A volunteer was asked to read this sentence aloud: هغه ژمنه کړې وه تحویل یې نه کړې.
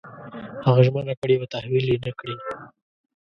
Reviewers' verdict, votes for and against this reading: rejected, 0, 2